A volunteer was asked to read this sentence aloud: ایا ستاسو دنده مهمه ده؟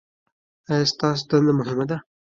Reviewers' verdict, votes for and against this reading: rejected, 1, 2